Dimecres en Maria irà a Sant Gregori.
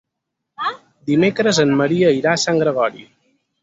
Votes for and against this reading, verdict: 6, 2, accepted